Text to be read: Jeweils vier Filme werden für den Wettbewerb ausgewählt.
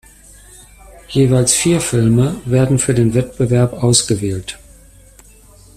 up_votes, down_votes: 2, 0